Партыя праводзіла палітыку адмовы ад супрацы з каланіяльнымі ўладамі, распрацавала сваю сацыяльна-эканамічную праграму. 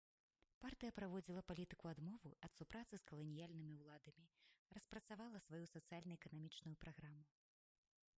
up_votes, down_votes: 1, 2